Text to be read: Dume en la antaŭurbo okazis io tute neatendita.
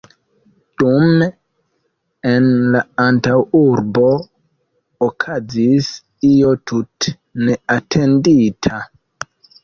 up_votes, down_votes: 1, 2